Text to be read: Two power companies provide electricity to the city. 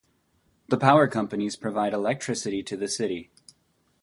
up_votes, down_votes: 2, 0